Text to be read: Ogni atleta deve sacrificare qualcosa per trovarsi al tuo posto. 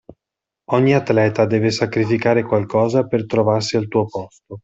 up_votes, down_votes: 2, 0